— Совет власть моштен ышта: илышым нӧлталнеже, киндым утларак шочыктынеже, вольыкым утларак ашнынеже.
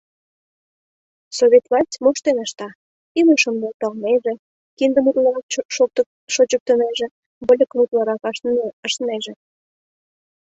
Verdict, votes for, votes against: rejected, 0, 2